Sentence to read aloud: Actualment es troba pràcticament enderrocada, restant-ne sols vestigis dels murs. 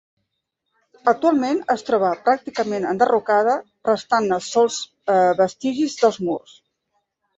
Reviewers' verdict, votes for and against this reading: accepted, 2, 0